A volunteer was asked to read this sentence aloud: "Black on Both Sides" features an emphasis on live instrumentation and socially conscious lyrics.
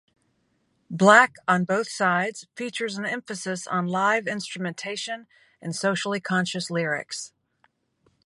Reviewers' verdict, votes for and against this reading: accepted, 2, 0